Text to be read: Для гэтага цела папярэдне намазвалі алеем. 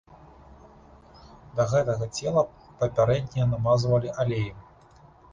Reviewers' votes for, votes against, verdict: 0, 2, rejected